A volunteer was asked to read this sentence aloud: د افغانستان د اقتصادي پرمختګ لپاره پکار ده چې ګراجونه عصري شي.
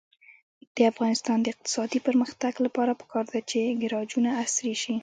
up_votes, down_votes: 2, 0